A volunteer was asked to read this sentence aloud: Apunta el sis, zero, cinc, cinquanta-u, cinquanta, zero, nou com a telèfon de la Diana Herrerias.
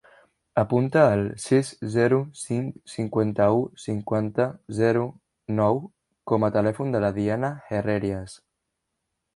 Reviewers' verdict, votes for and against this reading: rejected, 1, 2